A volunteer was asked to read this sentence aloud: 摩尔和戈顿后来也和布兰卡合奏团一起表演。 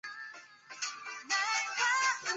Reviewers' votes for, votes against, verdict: 0, 2, rejected